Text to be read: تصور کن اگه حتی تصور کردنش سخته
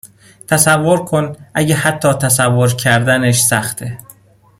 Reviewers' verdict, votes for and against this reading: accepted, 2, 0